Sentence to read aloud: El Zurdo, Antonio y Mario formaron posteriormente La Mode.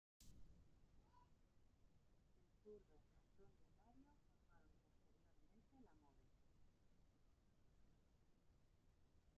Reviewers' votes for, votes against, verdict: 0, 2, rejected